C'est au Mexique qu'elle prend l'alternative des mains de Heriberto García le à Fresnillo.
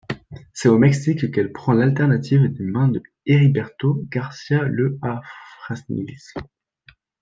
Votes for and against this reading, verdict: 0, 2, rejected